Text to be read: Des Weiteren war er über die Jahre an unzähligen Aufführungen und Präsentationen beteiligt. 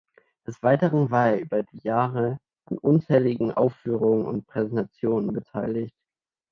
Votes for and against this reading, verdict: 2, 0, accepted